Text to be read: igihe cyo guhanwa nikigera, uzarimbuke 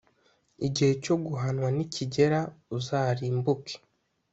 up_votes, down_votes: 2, 0